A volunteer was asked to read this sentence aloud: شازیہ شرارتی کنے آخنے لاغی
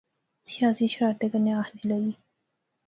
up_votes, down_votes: 2, 0